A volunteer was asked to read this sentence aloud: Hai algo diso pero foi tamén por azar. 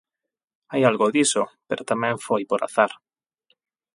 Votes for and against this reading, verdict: 0, 8, rejected